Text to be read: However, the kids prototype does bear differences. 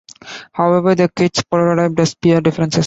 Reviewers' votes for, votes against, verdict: 1, 2, rejected